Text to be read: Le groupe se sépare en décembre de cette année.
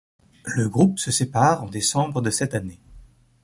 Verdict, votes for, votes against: accepted, 4, 0